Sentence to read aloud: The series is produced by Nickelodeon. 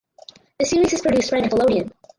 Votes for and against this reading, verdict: 2, 4, rejected